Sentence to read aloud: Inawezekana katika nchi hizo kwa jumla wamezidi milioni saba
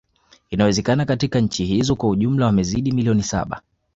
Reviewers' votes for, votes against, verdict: 2, 0, accepted